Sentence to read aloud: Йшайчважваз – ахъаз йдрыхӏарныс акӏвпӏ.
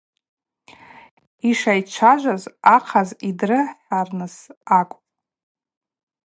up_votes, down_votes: 2, 0